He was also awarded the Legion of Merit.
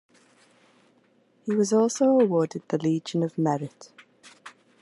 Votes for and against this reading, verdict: 2, 0, accepted